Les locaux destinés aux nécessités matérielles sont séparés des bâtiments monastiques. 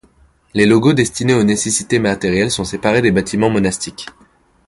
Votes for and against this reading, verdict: 1, 2, rejected